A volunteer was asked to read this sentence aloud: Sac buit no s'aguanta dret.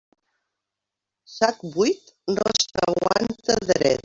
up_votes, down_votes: 0, 2